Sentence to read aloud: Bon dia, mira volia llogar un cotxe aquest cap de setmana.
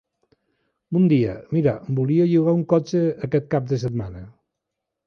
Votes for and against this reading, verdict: 3, 0, accepted